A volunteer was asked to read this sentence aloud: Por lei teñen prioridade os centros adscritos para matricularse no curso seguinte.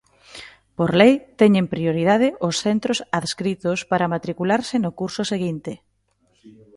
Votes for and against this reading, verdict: 3, 0, accepted